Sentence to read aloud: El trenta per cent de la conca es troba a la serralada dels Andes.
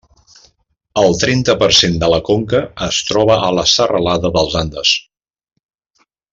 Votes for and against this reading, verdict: 3, 0, accepted